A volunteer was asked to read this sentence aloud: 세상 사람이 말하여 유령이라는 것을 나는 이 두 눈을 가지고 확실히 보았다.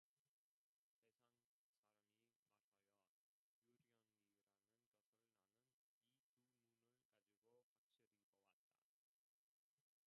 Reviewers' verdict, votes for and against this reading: rejected, 0, 2